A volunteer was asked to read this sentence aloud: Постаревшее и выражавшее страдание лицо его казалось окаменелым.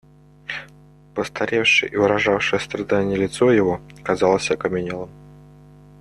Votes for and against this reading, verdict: 2, 0, accepted